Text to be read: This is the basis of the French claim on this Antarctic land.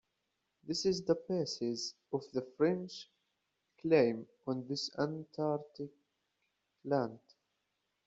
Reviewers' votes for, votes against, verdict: 2, 1, accepted